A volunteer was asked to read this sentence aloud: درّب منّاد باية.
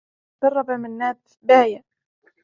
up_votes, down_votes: 1, 2